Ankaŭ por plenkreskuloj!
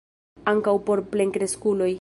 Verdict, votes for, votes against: rejected, 0, 2